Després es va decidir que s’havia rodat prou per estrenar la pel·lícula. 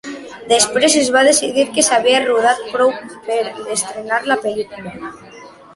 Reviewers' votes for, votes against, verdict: 2, 0, accepted